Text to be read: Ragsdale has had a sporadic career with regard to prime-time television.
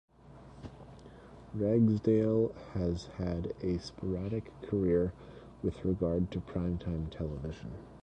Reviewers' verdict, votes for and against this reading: rejected, 1, 2